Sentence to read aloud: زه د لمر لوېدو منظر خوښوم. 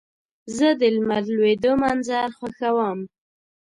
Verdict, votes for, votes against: accepted, 2, 0